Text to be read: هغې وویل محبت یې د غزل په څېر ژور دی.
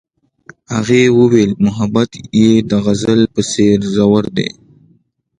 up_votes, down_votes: 2, 0